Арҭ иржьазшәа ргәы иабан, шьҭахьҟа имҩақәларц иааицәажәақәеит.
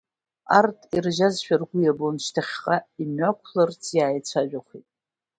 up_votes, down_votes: 2, 1